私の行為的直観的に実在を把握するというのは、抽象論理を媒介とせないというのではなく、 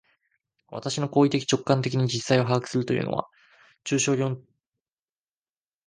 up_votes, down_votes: 0, 2